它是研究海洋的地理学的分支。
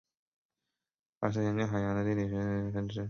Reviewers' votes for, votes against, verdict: 1, 4, rejected